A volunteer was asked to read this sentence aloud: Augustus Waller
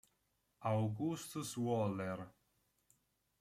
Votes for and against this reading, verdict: 2, 1, accepted